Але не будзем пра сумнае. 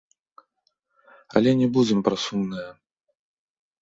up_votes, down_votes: 1, 2